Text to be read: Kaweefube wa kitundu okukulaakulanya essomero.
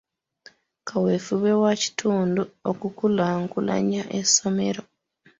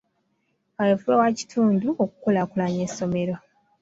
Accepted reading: second